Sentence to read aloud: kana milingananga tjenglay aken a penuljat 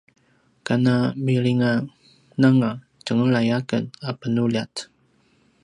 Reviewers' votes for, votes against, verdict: 2, 0, accepted